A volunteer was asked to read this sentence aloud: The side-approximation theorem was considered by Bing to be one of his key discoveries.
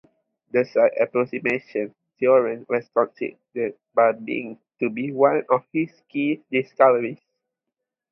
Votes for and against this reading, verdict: 0, 2, rejected